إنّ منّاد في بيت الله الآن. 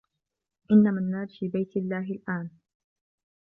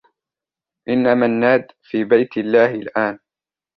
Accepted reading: second